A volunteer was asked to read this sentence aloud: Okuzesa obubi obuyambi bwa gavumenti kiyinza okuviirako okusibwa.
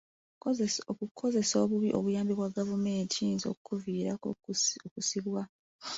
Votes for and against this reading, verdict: 0, 2, rejected